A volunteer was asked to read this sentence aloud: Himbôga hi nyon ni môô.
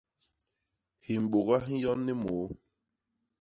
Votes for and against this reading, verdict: 1, 2, rejected